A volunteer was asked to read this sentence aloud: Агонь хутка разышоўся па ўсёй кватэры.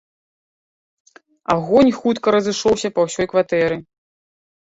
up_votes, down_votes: 2, 0